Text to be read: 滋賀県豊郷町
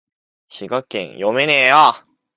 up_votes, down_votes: 1, 2